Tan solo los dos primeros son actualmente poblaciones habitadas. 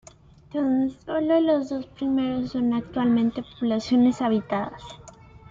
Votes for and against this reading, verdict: 2, 0, accepted